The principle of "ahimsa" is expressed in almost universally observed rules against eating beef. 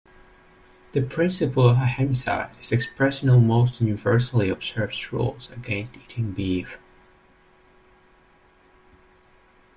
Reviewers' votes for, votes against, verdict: 1, 2, rejected